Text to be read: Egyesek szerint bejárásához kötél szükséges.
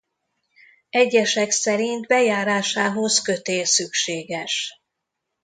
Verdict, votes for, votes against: accepted, 2, 0